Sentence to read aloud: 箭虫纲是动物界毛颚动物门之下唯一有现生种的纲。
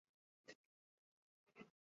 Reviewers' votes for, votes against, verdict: 1, 2, rejected